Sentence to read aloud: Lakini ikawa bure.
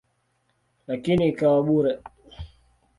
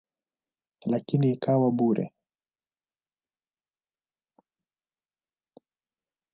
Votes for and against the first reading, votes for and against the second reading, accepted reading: 2, 0, 1, 2, first